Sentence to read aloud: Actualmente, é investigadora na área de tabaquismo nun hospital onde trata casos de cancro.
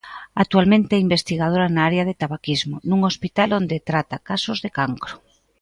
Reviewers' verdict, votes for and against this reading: accepted, 2, 0